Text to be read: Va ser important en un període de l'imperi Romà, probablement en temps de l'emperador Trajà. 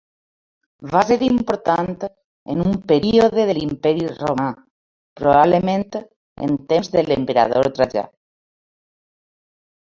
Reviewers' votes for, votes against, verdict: 2, 1, accepted